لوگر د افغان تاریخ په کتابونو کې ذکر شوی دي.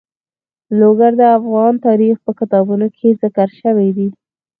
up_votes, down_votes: 4, 2